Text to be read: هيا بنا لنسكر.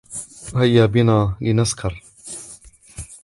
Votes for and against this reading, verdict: 2, 1, accepted